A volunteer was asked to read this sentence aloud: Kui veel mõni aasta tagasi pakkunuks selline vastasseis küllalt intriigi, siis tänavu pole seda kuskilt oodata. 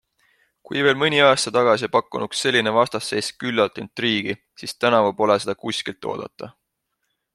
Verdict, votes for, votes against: accepted, 2, 0